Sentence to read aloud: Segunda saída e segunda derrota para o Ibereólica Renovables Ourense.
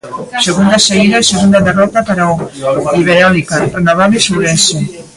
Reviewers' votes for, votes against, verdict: 0, 2, rejected